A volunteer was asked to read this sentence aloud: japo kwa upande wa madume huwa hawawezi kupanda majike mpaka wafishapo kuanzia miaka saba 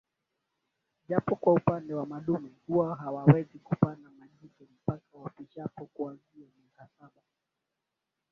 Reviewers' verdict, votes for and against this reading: accepted, 9, 4